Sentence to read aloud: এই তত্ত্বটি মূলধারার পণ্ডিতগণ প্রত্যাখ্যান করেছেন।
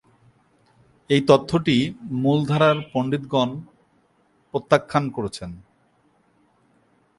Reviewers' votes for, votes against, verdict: 0, 3, rejected